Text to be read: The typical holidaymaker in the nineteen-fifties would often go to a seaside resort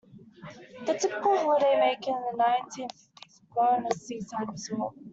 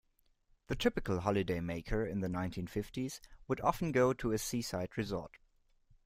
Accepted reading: second